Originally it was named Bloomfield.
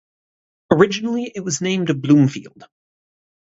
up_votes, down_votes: 4, 0